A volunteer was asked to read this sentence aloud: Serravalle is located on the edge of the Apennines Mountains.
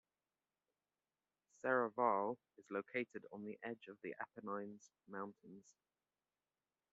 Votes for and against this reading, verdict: 1, 2, rejected